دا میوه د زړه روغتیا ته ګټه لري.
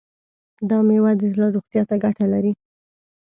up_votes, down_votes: 2, 0